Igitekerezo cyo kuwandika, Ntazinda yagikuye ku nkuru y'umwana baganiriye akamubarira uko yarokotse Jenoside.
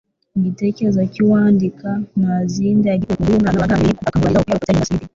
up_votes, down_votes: 0, 2